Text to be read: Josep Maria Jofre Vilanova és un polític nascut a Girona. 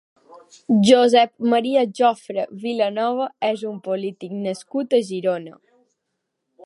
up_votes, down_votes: 4, 0